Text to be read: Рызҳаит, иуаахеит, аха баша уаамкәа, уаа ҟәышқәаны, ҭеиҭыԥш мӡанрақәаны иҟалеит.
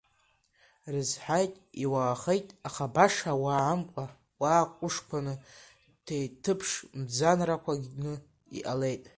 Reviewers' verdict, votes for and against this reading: rejected, 0, 2